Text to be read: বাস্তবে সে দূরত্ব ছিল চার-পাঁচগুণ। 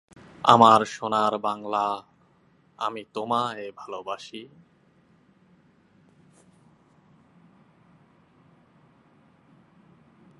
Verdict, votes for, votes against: rejected, 0, 2